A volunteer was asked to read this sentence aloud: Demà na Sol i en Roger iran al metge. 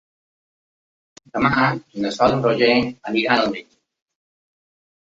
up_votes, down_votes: 1, 2